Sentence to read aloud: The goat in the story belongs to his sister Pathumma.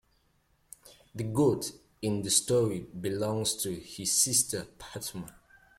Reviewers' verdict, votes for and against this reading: accepted, 2, 1